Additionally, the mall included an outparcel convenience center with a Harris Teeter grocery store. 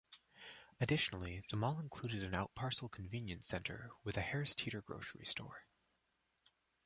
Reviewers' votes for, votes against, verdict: 2, 1, accepted